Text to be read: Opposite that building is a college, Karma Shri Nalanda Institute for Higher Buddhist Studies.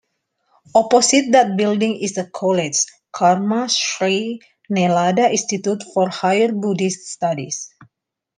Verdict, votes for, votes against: accepted, 2, 0